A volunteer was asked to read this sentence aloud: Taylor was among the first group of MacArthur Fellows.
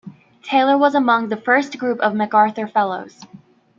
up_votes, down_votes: 1, 2